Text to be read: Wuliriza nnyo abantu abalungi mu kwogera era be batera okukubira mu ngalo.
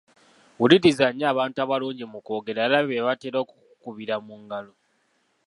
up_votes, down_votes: 1, 2